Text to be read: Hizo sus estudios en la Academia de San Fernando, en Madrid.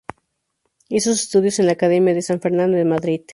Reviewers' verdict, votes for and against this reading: accepted, 2, 0